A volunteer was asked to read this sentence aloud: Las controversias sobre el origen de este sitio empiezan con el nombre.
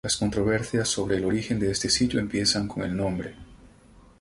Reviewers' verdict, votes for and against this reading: accepted, 2, 0